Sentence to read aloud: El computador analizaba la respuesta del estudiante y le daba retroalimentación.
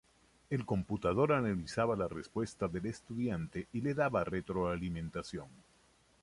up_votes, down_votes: 2, 0